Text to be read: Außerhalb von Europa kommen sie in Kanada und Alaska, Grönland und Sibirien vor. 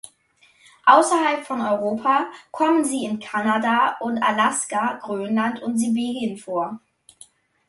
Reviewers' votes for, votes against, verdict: 2, 0, accepted